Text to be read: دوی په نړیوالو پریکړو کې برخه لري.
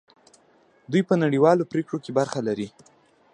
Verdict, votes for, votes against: rejected, 0, 2